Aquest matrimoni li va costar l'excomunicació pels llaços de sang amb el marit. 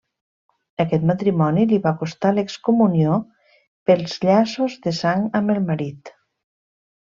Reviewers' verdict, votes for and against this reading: rejected, 0, 2